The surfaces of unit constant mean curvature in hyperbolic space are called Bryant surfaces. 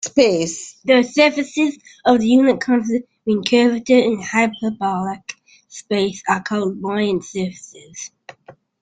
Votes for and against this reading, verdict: 0, 2, rejected